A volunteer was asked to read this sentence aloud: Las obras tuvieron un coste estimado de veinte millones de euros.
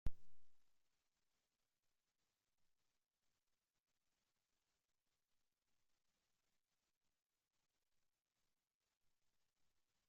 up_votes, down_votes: 2, 3